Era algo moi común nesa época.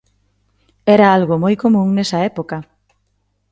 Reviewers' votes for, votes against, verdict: 2, 0, accepted